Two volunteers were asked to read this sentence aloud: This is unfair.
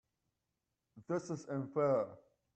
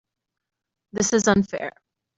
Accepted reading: second